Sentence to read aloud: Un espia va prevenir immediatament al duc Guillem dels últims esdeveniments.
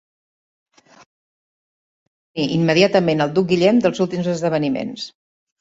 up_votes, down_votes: 1, 3